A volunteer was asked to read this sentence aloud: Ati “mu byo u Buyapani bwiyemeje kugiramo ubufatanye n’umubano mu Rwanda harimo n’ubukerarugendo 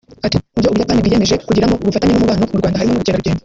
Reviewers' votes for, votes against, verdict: 0, 2, rejected